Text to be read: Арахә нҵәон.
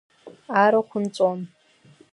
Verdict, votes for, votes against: accepted, 2, 0